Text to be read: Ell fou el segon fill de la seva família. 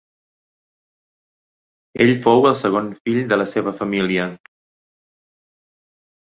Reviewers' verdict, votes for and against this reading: accepted, 6, 0